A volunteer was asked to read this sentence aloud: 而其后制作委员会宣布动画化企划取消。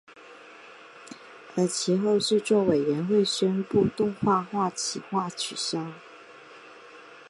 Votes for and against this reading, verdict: 2, 0, accepted